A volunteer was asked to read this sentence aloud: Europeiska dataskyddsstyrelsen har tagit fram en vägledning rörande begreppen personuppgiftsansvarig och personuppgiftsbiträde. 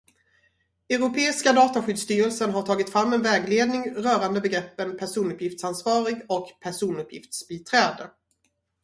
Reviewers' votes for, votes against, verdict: 2, 0, accepted